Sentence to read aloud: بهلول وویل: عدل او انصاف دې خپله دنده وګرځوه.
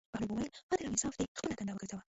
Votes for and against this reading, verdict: 1, 2, rejected